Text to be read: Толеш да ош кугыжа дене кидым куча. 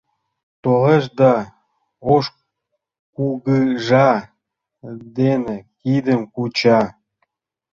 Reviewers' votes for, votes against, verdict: 2, 1, accepted